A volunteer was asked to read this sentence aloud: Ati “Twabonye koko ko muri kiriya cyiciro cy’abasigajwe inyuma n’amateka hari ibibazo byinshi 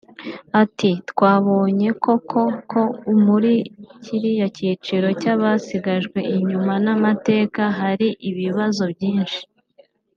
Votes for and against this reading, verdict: 0, 2, rejected